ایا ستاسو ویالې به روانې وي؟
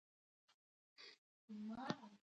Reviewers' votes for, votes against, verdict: 2, 1, accepted